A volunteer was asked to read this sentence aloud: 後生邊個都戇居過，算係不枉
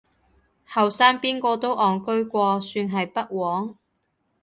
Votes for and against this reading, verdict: 2, 0, accepted